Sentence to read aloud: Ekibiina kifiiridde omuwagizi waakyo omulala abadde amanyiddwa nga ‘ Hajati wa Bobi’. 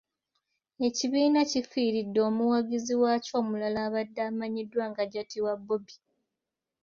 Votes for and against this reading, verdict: 0, 2, rejected